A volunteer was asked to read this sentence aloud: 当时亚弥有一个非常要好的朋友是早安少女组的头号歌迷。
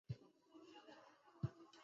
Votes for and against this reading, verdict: 0, 3, rejected